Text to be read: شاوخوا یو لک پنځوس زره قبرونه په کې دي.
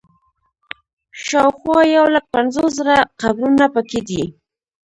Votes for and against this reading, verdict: 0, 2, rejected